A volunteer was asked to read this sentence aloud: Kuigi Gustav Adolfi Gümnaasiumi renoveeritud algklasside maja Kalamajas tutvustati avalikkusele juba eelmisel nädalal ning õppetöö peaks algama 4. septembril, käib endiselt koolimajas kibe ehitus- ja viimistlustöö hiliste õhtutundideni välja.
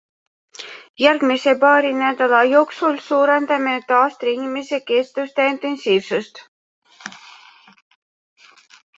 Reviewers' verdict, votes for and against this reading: rejected, 0, 2